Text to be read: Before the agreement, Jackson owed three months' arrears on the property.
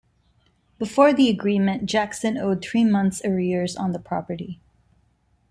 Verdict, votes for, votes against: accepted, 2, 0